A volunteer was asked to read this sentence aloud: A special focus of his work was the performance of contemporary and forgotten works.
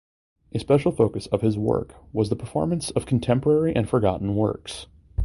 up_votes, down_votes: 2, 0